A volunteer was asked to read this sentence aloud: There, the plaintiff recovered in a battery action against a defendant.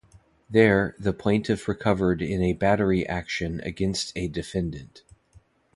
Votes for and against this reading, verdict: 2, 0, accepted